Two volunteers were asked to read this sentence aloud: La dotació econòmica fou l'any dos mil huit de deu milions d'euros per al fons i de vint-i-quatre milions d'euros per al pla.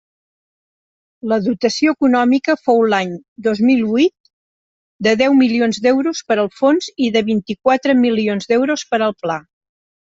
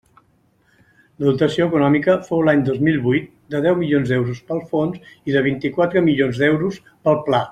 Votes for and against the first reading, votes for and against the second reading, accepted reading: 2, 0, 0, 2, first